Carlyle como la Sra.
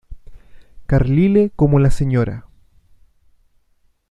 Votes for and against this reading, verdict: 2, 0, accepted